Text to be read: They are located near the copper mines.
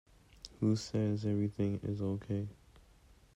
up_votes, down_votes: 0, 2